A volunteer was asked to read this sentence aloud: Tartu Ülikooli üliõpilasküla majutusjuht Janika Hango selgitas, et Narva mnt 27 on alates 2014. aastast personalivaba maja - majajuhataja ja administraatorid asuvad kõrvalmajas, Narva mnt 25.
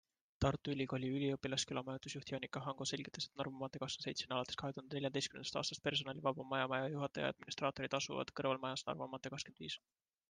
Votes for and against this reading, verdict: 0, 2, rejected